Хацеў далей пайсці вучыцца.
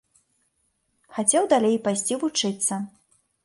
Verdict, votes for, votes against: accepted, 2, 0